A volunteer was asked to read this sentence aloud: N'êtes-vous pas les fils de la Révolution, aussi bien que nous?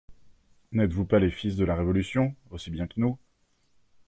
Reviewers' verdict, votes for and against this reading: accepted, 2, 0